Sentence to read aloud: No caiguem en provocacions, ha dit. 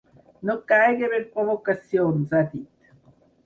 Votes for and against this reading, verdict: 4, 6, rejected